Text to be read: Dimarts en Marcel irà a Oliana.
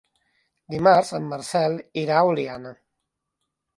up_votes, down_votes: 2, 0